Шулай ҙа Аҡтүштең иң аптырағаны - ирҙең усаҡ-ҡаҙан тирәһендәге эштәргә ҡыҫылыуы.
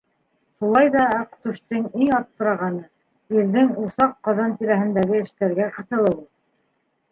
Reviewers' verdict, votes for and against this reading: rejected, 1, 2